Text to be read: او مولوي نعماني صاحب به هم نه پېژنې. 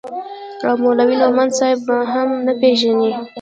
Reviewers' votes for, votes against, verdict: 1, 2, rejected